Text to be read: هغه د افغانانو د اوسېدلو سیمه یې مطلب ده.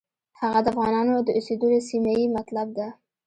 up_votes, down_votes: 2, 1